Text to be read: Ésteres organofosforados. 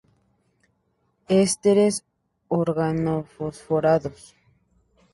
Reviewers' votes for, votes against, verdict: 0, 2, rejected